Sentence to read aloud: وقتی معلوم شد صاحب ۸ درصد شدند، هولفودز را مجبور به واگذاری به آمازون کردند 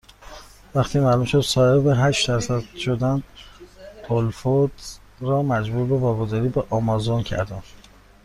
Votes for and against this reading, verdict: 0, 2, rejected